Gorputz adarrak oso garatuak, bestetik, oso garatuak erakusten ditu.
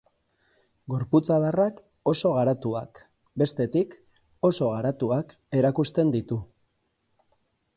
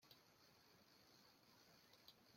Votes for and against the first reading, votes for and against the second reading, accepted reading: 4, 0, 0, 2, first